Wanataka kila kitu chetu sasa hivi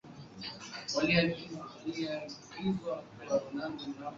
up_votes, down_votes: 0, 3